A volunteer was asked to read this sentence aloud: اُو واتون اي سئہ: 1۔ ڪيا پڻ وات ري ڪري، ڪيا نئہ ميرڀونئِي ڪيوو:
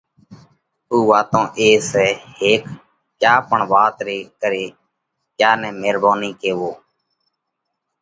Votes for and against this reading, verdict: 0, 2, rejected